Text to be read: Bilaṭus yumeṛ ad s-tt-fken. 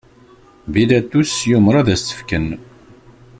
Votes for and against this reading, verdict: 1, 2, rejected